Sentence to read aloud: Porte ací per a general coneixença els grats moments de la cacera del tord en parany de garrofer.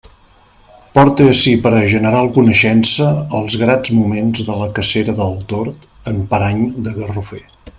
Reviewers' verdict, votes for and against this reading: accepted, 2, 0